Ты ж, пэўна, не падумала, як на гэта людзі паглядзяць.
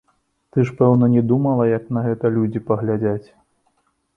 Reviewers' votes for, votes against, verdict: 2, 3, rejected